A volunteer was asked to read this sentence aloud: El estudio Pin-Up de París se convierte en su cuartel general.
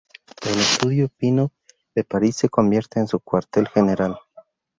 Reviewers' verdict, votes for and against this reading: rejected, 2, 2